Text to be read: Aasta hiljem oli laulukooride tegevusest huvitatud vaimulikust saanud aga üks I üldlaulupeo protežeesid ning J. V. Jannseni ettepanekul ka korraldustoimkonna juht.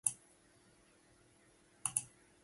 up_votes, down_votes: 0, 2